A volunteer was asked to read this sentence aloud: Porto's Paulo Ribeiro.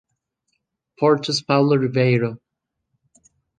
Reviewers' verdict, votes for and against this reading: accepted, 2, 0